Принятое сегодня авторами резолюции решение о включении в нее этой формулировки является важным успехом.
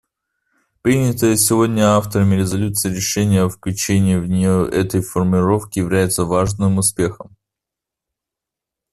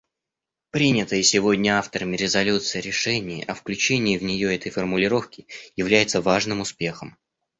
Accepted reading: first